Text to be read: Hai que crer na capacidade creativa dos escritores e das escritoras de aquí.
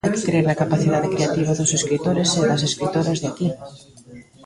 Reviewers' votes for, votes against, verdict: 1, 2, rejected